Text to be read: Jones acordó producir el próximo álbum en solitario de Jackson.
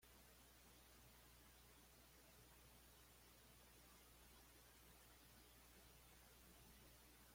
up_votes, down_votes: 1, 2